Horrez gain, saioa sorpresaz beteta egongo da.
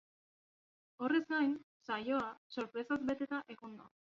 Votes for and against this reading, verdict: 1, 3, rejected